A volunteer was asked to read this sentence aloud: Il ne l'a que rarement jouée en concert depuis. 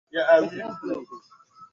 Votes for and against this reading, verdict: 0, 2, rejected